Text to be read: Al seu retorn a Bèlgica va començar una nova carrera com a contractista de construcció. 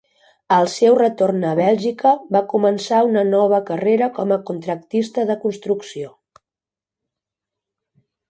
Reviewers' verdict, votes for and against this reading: rejected, 1, 2